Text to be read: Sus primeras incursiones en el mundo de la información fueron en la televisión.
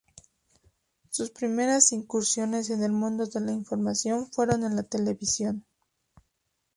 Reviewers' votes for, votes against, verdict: 2, 0, accepted